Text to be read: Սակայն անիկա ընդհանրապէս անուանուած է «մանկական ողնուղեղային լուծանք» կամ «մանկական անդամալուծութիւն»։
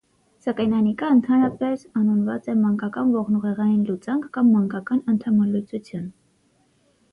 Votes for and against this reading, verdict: 6, 0, accepted